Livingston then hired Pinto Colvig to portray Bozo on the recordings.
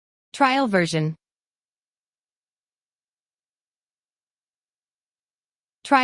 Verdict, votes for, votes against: rejected, 0, 2